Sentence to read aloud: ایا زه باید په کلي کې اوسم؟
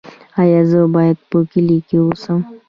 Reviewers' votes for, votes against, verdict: 2, 0, accepted